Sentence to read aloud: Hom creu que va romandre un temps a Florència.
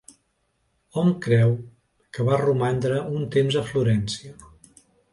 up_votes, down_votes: 2, 0